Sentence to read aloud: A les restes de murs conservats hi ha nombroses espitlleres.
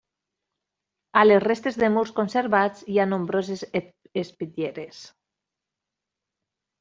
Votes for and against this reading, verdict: 0, 2, rejected